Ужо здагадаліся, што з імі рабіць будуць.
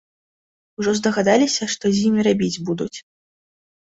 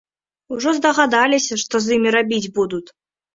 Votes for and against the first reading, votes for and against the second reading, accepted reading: 2, 0, 0, 2, first